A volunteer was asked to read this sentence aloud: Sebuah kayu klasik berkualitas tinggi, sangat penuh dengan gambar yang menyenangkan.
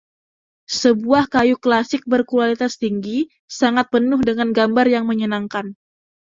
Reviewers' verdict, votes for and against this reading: accepted, 2, 0